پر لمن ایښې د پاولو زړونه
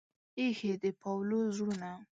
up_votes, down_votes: 1, 2